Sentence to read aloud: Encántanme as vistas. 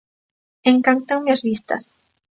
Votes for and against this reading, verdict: 2, 0, accepted